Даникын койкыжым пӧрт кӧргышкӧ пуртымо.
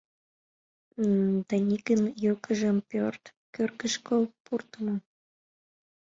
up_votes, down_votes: 1, 2